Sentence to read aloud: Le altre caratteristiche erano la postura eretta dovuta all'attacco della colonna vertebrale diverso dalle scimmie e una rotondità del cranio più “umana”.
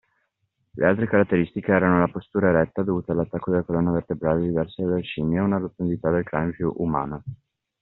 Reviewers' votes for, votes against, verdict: 2, 0, accepted